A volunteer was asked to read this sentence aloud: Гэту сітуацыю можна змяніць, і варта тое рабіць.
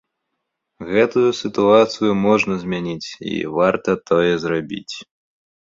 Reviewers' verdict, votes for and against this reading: rejected, 1, 2